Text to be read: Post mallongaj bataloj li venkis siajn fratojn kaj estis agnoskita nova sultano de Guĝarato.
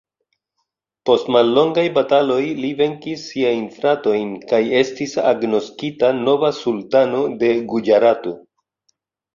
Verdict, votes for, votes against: accepted, 2, 0